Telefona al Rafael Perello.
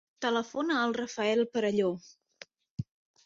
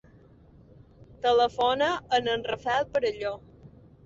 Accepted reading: first